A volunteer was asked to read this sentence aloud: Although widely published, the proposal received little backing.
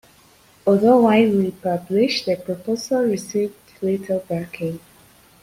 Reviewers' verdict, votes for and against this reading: accepted, 2, 0